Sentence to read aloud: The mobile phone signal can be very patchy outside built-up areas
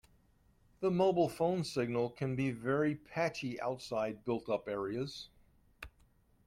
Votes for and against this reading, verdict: 2, 0, accepted